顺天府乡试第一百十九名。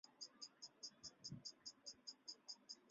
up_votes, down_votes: 0, 3